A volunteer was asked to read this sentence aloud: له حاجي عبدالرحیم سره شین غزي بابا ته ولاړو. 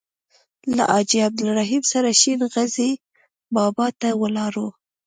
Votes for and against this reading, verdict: 2, 0, accepted